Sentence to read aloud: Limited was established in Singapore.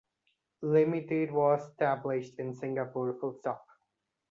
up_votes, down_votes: 0, 2